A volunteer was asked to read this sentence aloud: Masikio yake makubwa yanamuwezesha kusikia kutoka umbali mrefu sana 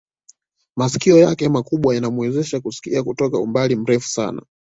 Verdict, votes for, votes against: accepted, 2, 0